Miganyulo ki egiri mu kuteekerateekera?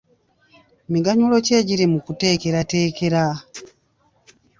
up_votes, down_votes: 2, 0